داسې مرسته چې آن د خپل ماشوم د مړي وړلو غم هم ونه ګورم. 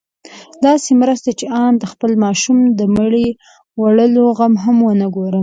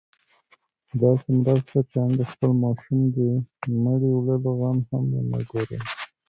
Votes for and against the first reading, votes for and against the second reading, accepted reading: 2, 0, 1, 2, first